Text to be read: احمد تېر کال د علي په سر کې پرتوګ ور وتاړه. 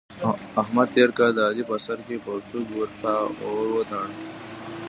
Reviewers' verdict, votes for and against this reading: rejected, 1, 2